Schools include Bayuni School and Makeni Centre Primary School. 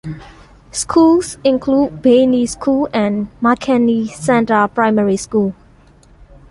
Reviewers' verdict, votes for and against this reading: accepted, 2, 1